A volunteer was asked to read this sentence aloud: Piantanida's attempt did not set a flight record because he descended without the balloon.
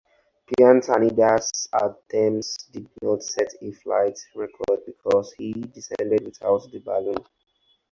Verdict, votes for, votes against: rejected, 2, 4